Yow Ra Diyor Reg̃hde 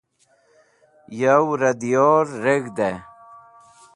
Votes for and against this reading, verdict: 2, 0, accepted